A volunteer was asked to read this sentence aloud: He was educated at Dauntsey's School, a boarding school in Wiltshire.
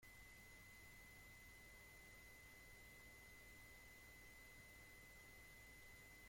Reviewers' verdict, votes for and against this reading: rejected, 0, 2